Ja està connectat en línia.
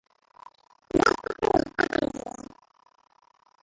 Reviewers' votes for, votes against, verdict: 0, 2, rejected